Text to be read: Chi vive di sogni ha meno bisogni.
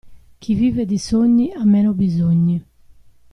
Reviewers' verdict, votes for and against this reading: accepted, 2, 0